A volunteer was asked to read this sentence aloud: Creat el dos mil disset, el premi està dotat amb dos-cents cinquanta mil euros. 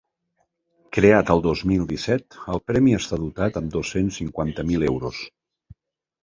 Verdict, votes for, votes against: accepted, 3, 0